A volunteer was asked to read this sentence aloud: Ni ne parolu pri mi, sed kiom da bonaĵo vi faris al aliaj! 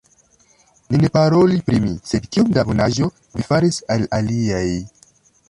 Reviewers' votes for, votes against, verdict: 0, 2, rejected